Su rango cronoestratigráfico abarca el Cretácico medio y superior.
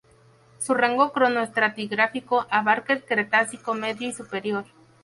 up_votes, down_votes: 0, 4